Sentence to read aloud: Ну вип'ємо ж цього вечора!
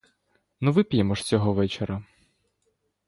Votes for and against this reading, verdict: 2, 0, accepted